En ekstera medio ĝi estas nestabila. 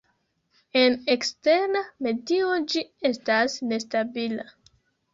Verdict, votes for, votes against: rejected, 0, 2